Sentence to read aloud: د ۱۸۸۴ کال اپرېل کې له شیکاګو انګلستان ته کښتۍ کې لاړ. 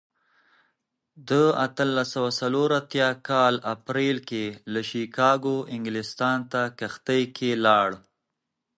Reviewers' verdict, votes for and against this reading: rejected, 0, 2